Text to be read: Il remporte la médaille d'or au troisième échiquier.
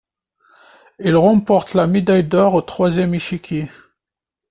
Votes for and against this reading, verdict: 2, 0, accepted